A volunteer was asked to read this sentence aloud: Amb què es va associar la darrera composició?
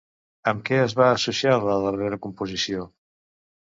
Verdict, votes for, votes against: accepted, 2, 0